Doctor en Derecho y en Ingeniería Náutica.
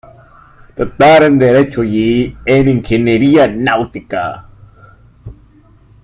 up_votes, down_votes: 2, 0